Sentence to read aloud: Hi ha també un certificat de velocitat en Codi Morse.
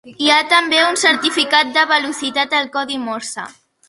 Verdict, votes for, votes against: rejected, 1, 2